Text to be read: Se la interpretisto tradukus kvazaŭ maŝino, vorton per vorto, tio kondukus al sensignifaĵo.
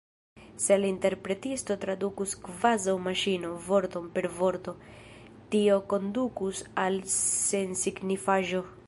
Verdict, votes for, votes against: rejected, 0, 2